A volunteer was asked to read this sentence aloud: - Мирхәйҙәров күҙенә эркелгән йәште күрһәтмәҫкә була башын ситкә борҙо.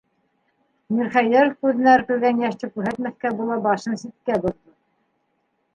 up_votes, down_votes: 0, 2